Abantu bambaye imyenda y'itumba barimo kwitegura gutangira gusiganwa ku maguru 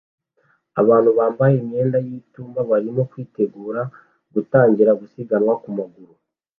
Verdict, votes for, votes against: accepted, 2, 0